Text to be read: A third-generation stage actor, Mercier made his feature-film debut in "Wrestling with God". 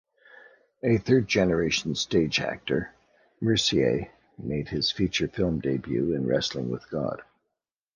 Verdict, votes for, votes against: rejected, 0, 2